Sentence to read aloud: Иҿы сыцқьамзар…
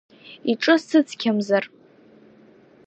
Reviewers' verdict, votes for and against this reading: accepted, 2, 0